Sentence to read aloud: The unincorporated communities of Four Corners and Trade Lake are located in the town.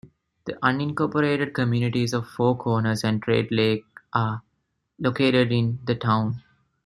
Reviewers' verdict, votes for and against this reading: accepted, 2, 0